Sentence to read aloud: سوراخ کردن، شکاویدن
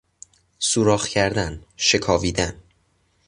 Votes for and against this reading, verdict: 2, 0, accepted